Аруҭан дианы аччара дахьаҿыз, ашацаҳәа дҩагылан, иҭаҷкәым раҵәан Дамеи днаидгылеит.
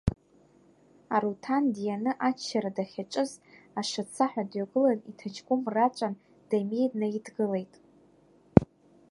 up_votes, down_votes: 0, 2